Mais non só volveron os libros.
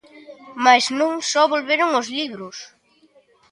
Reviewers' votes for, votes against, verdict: 1, 2, rejected